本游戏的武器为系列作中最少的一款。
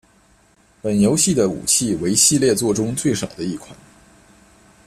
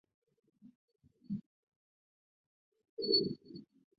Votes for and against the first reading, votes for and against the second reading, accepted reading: 2, 0, 0, 4, first